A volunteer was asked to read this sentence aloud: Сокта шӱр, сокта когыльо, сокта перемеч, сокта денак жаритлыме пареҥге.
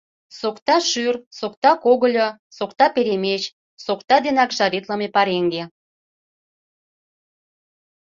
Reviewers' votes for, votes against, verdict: 2, 0, accepted